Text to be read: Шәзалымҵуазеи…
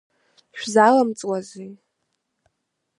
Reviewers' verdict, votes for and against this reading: accepted, 2, 0